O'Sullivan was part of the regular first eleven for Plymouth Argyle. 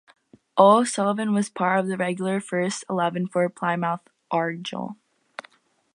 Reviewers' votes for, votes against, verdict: 2, 2, rejected